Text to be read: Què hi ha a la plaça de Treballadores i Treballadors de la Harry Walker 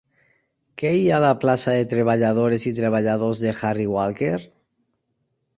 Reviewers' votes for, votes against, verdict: 0, 4, rejected